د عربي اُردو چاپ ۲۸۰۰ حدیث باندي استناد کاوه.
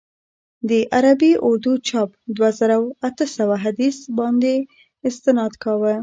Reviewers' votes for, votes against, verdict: 0, 2, rejected